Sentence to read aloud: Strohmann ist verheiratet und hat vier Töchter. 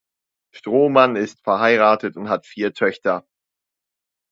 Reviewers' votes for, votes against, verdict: 2, 0, accepted